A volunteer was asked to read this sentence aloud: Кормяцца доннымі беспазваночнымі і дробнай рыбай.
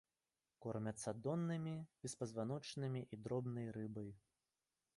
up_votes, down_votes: 1, 2